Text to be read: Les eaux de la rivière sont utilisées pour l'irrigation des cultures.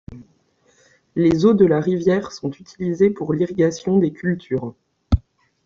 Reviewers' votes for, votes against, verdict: 2, 0, accepted